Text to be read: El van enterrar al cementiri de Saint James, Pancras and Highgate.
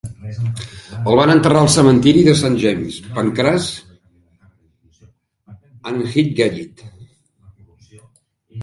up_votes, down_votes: 0, 2